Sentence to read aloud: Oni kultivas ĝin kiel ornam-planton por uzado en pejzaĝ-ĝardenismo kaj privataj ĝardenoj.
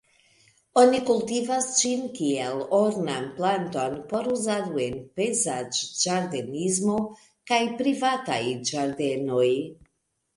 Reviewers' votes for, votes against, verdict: 0, 2, rejected